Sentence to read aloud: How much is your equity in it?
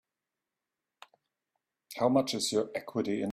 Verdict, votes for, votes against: rejected, 0, 3